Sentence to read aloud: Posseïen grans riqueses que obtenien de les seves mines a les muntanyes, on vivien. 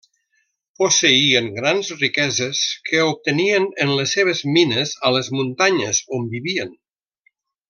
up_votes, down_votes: 0, 2